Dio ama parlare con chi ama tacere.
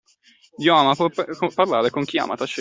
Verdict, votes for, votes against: rejected, 0, 2